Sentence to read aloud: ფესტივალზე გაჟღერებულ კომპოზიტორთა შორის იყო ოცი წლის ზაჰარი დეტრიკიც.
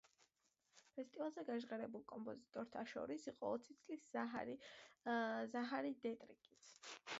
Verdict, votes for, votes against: rejected, 0, 2